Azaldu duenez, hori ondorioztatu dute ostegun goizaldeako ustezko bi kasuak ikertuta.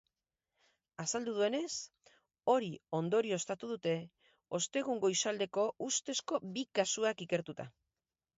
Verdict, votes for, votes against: rejected, 0, 4